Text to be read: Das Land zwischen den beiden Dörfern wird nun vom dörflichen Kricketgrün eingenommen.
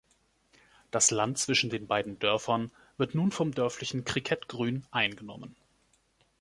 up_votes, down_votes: 2, 0